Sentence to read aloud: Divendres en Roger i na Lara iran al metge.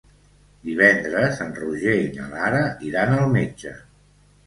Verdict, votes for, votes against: accepted, 2, 0